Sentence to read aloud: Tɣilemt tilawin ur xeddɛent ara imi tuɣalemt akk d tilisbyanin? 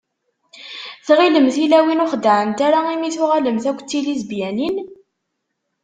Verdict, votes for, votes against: rejected, 1, 2